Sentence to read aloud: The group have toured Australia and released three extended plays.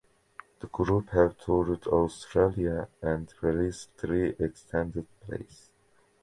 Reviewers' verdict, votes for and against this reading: accepted, 2, 0